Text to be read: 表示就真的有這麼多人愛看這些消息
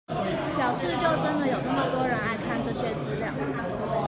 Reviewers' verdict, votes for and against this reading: rejected, 0, 2